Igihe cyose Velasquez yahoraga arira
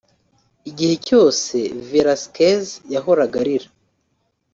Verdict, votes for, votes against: rejected, 1, 2